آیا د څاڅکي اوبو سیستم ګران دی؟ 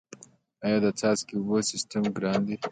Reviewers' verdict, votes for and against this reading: accepted, 2, 0